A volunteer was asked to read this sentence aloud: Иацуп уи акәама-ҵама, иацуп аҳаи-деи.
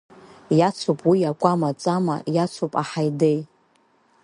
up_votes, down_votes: 3, 0